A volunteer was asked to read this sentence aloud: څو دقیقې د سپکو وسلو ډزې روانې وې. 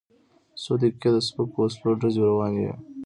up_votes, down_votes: 2, 0